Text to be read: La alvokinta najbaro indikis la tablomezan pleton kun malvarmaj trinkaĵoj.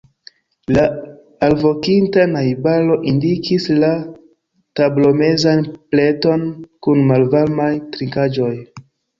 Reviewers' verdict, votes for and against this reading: accepted, 2, 1